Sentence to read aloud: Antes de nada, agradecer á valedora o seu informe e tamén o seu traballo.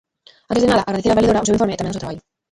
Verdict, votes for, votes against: rejected, 0, 2